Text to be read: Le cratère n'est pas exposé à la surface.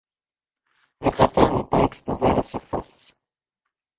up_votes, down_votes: 0, 2